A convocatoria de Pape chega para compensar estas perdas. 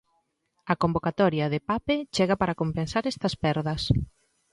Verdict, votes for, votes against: accepted, 2, 0